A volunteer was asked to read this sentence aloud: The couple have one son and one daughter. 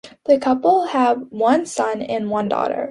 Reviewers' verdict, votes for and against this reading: accepted, 2, 0